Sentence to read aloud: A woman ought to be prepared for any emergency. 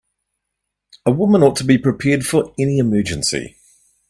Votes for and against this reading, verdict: 3, 0, accepted